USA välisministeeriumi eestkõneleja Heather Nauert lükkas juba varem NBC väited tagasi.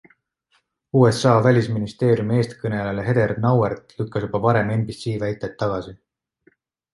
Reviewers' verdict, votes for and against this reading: accepted, 2, 0